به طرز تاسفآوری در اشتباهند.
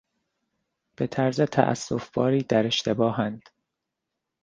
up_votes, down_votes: 0, 2